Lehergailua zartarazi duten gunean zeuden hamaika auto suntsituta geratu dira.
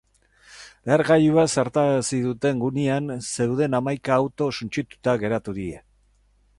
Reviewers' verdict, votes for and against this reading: rejected, 0, 4